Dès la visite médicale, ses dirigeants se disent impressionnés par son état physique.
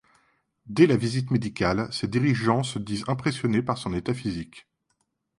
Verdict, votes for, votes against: accepted, 2, 0